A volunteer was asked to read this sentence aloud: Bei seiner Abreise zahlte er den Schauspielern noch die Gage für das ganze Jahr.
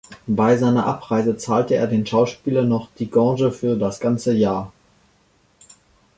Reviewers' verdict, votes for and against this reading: rejected, 1, 2